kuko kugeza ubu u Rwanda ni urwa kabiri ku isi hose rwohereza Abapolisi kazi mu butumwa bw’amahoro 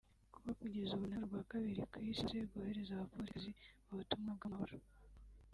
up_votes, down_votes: 0, 3